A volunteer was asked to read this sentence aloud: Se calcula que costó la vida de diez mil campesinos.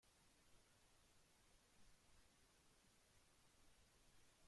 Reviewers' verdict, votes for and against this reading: rejected, 0, 2